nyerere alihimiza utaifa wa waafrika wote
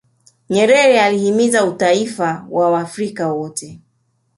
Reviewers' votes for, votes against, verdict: 0, 2, rejected